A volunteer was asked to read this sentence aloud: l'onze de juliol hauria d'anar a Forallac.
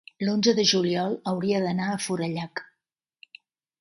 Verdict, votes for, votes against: accepted, 3, 0